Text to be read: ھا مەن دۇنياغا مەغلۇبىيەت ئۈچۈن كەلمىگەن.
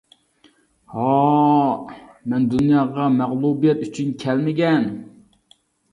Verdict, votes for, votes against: accepted, 2, 0